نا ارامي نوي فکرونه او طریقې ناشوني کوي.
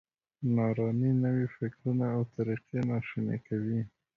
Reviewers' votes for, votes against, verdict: 2, 0, accepted